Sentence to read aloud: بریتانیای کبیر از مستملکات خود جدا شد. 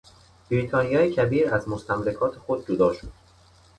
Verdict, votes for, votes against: accepted, 2, 0